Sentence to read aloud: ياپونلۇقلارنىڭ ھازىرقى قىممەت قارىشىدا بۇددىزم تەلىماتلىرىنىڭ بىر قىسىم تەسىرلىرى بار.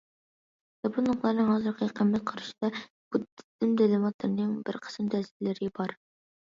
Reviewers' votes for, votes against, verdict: 0, 2, rejected